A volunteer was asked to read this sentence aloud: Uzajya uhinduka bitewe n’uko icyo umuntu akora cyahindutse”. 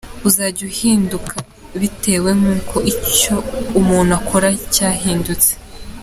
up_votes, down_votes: 2, 0